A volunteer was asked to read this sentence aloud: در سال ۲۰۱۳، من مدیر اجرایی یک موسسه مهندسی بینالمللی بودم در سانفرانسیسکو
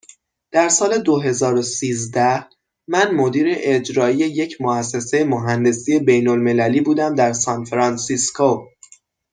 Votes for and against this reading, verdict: 0, 2, rejected